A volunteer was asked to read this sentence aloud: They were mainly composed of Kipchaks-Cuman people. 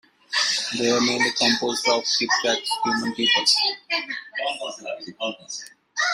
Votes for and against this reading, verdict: 0, 2, rejected